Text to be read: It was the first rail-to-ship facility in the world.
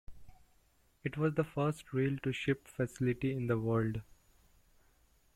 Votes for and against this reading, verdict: 2, 1, accepted